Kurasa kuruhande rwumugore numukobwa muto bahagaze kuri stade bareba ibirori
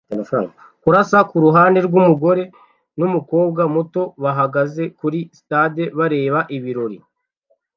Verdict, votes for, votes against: rejected, 0, 2